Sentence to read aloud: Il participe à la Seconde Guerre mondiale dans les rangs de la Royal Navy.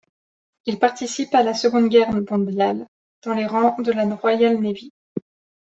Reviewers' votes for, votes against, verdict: 1, 2, rejected